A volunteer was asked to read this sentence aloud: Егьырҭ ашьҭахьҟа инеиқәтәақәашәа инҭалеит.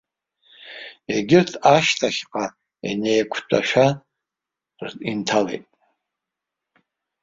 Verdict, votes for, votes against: rejected, 0, 2